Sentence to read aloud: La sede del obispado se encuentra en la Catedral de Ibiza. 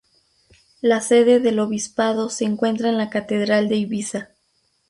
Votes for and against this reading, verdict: 0, 2, rejected